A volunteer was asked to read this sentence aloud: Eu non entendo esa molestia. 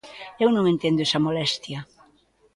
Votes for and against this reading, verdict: 2, 0, accepted